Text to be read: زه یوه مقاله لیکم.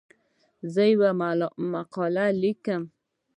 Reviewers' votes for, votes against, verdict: 1, 2, rejected